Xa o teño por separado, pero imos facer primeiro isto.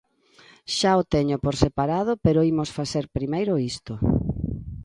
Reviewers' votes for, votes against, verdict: 2, 0, accepted